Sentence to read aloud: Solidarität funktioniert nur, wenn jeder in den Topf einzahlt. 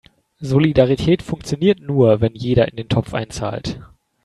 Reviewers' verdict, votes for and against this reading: accepted, 3, 0